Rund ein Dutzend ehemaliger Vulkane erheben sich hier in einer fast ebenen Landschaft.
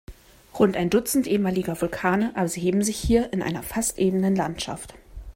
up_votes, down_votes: 0, 2